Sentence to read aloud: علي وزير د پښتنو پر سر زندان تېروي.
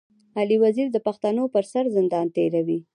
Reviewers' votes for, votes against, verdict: 1, 2, rejected